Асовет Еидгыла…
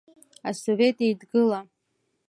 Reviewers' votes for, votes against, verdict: 2, 0, accepted